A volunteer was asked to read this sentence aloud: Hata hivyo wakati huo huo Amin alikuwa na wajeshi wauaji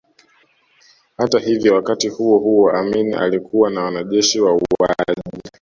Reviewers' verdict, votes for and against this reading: rejected, 0, 2